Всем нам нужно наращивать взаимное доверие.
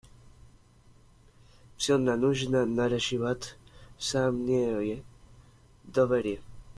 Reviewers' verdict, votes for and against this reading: rejected, 0, 2